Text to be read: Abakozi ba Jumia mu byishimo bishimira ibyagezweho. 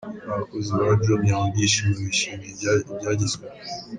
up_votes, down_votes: 0, 3